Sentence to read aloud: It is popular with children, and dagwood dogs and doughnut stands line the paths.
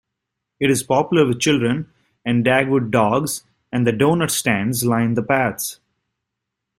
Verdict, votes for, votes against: rejected, 0, 2